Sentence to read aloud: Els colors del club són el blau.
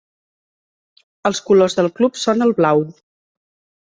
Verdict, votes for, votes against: accepted, 3, 0